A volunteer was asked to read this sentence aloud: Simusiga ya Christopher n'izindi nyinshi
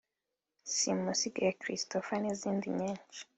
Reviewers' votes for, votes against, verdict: 3, 0, accepted